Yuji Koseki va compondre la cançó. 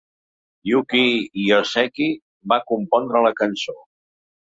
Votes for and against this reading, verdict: 0, 2, rejected